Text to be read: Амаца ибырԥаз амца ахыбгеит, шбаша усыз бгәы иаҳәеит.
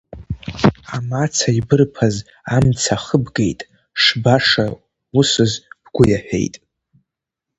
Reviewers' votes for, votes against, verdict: 2, 0, accepted